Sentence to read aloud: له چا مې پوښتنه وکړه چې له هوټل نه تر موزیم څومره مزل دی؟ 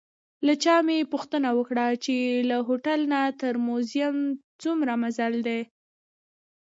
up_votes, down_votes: 2, 1